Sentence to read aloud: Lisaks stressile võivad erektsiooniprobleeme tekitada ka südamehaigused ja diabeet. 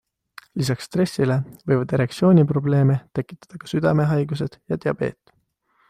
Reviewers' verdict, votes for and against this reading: accepted, 2, 0